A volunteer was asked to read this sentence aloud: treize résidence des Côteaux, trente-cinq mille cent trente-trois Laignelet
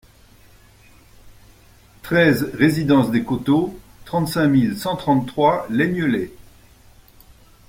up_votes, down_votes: 2, 0